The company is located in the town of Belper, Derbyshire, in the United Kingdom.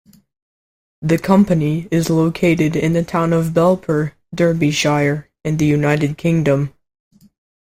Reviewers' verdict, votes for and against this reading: accepted, 2, 0